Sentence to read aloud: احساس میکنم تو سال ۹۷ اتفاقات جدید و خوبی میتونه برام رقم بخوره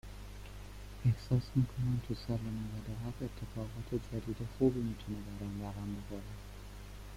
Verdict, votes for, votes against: rejected, 0, 2